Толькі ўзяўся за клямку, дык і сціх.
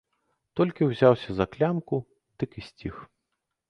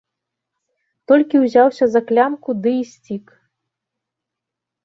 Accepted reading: first